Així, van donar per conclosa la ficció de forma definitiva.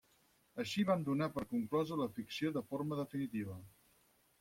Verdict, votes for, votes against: rejected, 2, 4